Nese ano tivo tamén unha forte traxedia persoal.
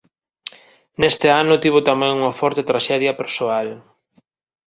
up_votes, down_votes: 1, 2